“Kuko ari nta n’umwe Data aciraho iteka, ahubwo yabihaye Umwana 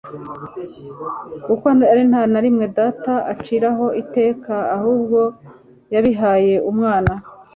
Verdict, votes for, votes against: accepted, 2, 0